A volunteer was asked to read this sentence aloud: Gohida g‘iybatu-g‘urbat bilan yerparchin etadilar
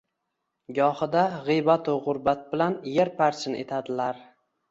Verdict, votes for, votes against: accepted, 2, 0